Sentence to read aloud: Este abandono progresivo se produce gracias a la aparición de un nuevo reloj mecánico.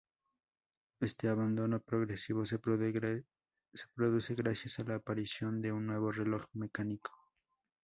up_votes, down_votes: 0, 2